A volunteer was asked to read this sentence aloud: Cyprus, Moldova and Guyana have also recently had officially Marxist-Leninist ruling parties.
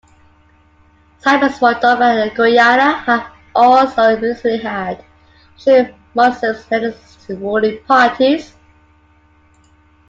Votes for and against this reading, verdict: 0, 2, rejected